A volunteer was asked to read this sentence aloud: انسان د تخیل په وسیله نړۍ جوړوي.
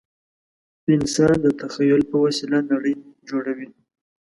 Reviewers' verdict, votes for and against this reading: accepted, 2, 0